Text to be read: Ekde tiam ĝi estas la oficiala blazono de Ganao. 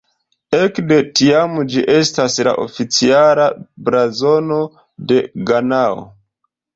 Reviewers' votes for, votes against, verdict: 2, 0, accepted